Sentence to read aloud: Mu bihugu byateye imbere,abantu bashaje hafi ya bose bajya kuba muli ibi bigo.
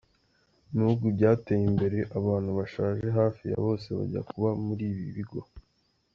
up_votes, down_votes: 2, 0